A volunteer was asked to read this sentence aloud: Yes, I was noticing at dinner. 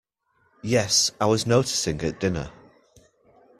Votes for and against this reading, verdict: 2, 0, accepted